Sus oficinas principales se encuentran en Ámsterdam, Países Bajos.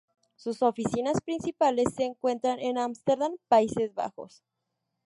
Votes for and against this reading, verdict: 0, 2, rejected